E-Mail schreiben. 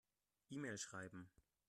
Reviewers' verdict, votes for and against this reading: rejected, 1, 2